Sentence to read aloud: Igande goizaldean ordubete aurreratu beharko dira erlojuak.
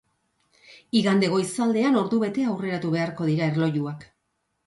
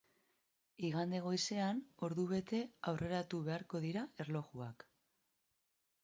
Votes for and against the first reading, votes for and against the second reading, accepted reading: 2, 0, 1, 2, first